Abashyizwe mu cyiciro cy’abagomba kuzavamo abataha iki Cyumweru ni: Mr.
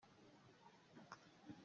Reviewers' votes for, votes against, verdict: 0, 2, rejected